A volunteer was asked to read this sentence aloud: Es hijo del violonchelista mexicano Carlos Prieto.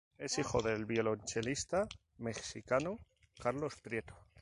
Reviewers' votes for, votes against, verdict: 0, 2, rejected